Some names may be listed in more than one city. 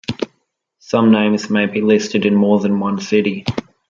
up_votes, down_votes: 2, 0